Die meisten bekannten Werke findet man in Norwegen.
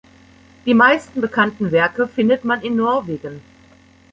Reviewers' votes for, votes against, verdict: 2, 0, accepted